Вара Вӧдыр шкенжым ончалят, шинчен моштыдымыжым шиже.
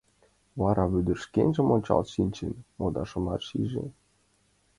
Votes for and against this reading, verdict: 3, 4, rejected